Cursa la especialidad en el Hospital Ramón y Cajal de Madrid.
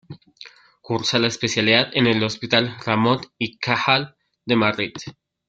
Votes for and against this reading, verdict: 0, 2, rejected